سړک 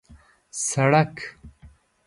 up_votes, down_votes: 2, 0